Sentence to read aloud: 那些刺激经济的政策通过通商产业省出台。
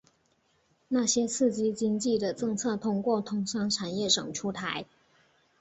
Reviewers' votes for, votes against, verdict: 0, 2, rejected